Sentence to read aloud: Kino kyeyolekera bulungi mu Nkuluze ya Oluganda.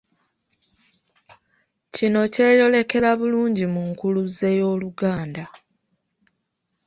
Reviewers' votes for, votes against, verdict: 1, 2, rejected